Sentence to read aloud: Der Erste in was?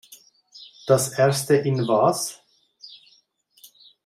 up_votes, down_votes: 0, 2